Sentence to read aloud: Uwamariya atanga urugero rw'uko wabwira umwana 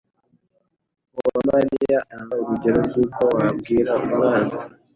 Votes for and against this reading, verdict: 1, 2, rejected